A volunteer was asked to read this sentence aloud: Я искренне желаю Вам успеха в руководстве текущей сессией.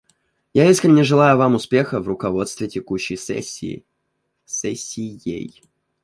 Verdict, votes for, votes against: rejected, 0, 2